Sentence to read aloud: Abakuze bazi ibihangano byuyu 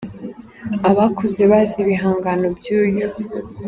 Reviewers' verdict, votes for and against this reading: accepted, 2, 0